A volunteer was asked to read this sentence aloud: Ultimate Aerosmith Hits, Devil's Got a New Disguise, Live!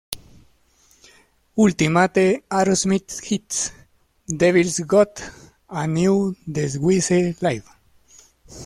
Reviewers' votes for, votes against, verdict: 0, 2, rejected